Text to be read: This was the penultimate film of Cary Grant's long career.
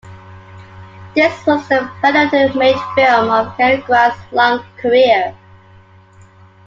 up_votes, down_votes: 1, 2